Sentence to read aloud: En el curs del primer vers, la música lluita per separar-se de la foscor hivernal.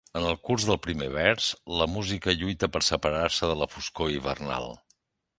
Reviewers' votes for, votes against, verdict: 2, 0, accepted